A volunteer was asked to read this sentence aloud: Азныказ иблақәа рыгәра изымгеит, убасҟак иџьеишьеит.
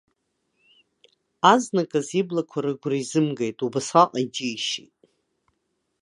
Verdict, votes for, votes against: rejected, 1, 2